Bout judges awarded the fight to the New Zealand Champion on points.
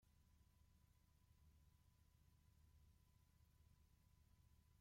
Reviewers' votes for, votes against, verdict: 0, 2, rejected